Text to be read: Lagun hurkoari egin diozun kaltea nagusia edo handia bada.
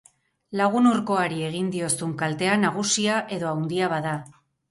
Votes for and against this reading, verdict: 0, 4, rejected